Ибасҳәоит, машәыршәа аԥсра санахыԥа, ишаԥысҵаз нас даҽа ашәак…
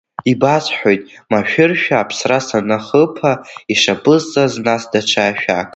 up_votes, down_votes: 2, 1